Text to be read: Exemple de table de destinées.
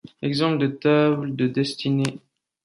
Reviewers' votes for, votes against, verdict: 2, 0, accepted